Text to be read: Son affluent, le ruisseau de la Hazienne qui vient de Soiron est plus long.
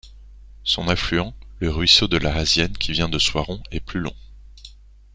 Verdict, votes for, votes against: accepted, 2, 0